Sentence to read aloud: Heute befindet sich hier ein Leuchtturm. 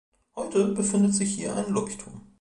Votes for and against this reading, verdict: 1, 3, rejected